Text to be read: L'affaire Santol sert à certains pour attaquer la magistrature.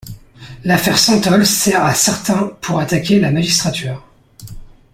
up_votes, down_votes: 2, 0